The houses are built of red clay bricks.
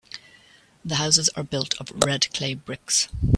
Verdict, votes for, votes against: rejected, 1, 2